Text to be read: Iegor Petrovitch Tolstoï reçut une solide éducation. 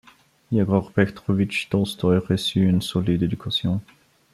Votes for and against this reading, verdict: 2, 0, accepted